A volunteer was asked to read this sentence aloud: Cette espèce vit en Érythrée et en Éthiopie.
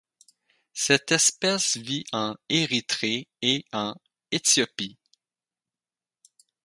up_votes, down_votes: 0, 4